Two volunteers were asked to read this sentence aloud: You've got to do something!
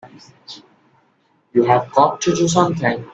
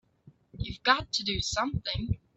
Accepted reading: second